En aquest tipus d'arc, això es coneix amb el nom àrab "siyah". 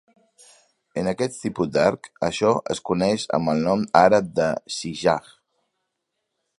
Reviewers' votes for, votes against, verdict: 2, 3, rejected